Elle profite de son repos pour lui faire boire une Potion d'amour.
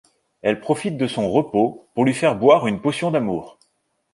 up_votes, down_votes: 2, 0